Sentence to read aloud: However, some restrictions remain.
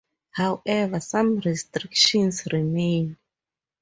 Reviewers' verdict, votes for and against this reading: accepted, 4, 0